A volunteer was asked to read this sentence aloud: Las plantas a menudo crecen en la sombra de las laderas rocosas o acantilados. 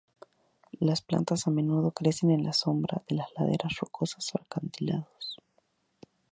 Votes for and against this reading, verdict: 2, 0, accepted